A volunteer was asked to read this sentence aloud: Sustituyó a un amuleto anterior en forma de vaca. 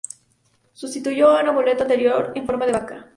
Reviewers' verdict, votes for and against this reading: accepted, 2, 0